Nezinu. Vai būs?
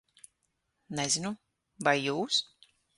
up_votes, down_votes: 0, 6